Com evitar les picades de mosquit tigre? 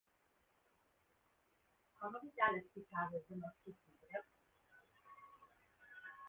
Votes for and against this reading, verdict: 1, 3, rejected